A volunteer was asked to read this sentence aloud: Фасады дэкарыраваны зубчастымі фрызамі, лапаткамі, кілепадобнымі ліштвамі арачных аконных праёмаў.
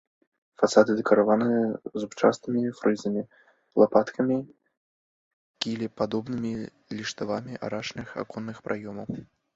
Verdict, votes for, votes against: rejected, 0, 2